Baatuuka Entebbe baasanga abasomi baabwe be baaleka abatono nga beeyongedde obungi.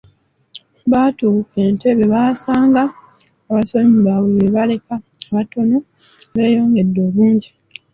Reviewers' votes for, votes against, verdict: 0, 2, rejected